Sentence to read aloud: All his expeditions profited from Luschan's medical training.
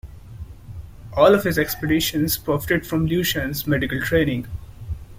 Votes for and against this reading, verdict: 2, 1, accepted